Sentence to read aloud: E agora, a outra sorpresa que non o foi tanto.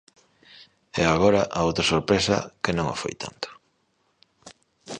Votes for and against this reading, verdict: 2, 0, accepted